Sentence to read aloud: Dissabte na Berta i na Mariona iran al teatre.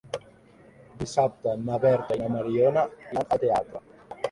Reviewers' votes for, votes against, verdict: 0, 2, rejected